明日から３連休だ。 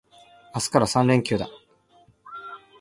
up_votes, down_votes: 0, 2